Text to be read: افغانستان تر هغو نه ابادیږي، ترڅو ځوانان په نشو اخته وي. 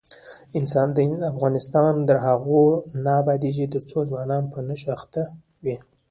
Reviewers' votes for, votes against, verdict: 1, 2, rejected